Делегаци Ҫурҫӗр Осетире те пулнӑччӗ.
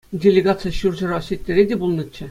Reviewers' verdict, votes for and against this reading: accepted, 2, 0